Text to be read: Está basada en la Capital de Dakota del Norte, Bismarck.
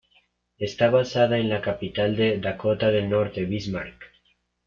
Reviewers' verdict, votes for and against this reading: accepted, 2, 0